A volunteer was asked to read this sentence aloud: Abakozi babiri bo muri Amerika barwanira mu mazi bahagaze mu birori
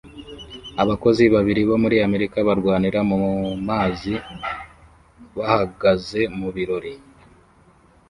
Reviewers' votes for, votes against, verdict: 1, 2, rejected